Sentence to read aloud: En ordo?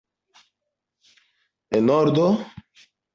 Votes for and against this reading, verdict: 2, 0, accepted